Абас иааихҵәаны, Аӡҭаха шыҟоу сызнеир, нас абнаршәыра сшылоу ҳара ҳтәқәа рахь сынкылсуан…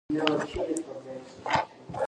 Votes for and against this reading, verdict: 0, 3, rejected